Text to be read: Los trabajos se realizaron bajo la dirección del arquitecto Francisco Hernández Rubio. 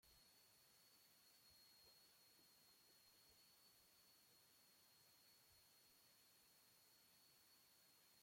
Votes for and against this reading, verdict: 0, 2, rejected